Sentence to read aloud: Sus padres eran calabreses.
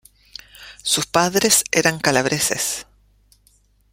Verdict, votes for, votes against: accepted, 2, 0